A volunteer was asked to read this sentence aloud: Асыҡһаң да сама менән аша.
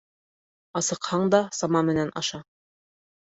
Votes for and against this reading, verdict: 3, 0, accepted